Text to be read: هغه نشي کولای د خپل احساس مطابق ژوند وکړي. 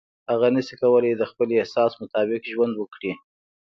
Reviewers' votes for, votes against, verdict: 2, 0, accepted